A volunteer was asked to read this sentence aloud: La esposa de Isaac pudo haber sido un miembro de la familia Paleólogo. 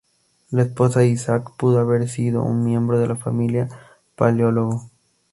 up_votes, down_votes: 2, 0